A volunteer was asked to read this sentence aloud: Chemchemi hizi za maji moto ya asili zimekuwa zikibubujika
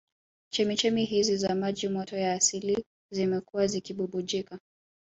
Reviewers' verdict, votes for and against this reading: accepted, 2, 0